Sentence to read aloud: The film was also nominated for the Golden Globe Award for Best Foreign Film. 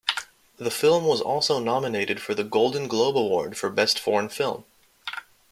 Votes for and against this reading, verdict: 2, 0, accepted